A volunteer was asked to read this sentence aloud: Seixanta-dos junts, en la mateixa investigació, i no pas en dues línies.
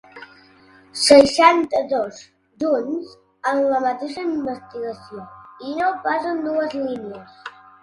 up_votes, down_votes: 2, 0